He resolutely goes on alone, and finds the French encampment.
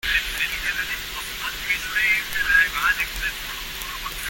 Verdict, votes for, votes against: rejected, 0, 2